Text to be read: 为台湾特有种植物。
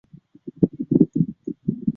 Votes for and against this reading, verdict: 0, 6, rejected